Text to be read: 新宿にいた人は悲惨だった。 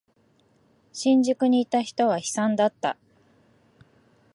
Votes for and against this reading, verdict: 4, 0, accepted